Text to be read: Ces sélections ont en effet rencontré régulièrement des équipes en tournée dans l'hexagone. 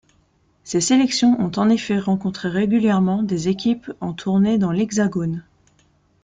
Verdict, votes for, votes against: rejected, 1, 2